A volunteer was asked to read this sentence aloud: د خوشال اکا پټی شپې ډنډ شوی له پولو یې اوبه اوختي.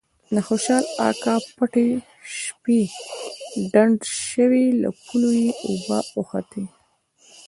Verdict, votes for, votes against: accepted, 2, 0